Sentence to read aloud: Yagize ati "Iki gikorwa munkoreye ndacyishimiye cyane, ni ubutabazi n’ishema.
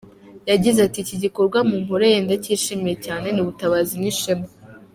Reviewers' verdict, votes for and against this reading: accepted, 2, 0